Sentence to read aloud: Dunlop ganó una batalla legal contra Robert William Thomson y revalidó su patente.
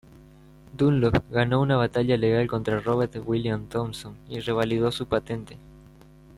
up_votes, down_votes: 2, 0